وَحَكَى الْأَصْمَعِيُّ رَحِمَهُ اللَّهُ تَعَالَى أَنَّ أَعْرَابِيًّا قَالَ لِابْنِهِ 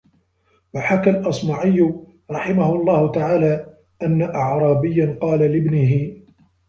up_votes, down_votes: 2, 0